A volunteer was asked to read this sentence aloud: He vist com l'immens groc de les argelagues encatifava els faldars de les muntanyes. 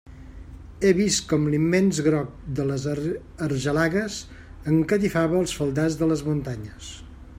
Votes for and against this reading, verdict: 0, 2, rejected